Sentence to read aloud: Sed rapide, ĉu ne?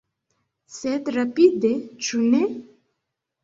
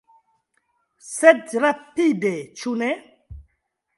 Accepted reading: first